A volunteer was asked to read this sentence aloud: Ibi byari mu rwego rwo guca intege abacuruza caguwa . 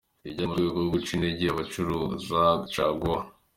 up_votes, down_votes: 3, 1